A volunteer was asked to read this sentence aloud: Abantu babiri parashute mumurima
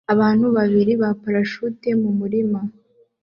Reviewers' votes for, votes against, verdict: 1, 2, rejected